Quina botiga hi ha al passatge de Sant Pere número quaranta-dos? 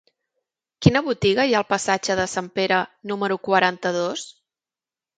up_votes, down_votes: 5, 0